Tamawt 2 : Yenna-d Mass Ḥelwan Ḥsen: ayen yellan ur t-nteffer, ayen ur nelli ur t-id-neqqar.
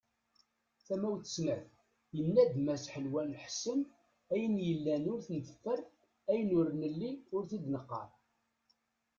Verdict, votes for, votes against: rejected, 0, 2